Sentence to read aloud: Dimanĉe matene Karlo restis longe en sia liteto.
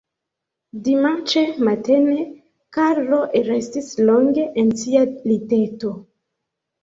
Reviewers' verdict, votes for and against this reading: rejected, 1, 2